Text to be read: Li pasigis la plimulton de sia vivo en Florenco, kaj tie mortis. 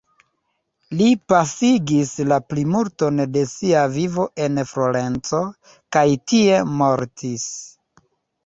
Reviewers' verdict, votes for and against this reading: rejected, 1, 2